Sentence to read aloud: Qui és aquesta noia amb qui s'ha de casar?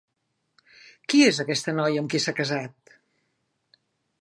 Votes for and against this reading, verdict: 1, 3, rejected